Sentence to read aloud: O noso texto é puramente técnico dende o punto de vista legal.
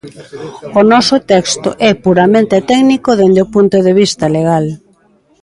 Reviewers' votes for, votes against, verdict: 2, 1, accepted